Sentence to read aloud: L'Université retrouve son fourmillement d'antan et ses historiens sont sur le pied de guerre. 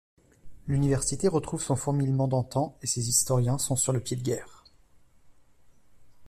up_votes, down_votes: 2, 0